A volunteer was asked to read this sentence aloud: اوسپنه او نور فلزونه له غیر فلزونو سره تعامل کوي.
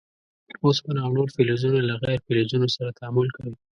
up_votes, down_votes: 3, 0